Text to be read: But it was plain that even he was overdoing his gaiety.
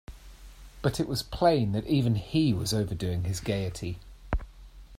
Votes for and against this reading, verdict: 2, 0, accepted